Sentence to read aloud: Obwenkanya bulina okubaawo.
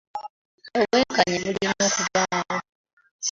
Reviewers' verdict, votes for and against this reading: accepted, 2, 0